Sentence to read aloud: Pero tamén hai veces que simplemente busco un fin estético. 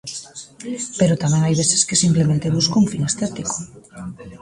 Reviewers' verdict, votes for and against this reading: rejected, 1, 2